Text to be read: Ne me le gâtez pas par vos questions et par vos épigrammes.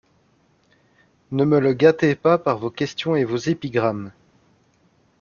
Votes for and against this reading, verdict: 1, 2, rejected